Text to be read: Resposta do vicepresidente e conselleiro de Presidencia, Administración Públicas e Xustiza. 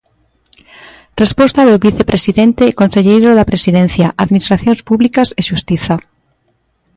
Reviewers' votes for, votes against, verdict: 0, 2, rejected